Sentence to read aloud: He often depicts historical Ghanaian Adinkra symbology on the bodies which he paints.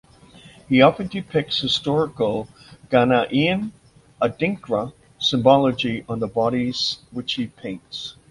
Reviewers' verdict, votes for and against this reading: rejected, 0, 2